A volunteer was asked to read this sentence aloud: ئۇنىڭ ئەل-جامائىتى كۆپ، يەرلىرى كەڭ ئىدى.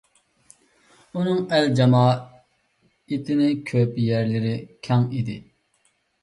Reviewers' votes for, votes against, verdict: 1, 2, rejected